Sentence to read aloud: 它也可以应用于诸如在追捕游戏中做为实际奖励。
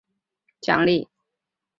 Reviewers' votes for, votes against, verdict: 0, 2, rejected